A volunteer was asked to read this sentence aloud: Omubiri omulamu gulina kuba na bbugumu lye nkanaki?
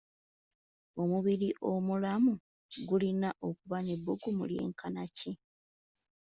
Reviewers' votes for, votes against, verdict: 2, 1, accepted